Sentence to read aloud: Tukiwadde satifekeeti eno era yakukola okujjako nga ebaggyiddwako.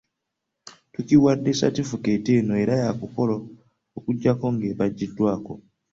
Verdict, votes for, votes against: accepted, 2, 0